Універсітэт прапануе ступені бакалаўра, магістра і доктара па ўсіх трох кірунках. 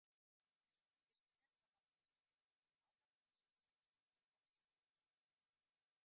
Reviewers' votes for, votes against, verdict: 0, 2, rejected